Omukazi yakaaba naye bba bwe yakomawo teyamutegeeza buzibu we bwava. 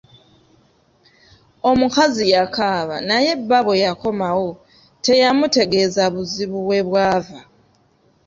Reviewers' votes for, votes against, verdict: 2, 0, accepted